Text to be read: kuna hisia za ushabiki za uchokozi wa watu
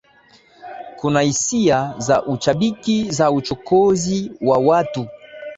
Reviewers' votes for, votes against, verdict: 2, 0, accepted